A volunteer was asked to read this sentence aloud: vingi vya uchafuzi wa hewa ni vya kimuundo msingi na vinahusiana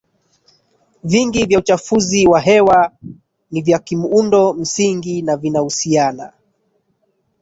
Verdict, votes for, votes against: rejected, 1, 2